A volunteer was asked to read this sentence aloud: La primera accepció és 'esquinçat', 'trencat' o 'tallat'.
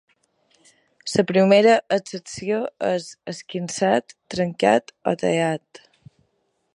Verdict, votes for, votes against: rejected, 2, 3